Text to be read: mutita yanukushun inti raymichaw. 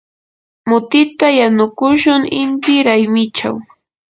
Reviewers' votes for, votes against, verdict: 2, 0, accepted